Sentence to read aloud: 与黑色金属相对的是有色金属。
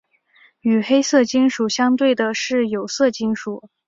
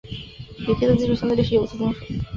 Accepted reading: first